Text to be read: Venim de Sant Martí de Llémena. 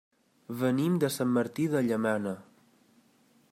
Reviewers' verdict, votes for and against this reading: rejected, 0, 2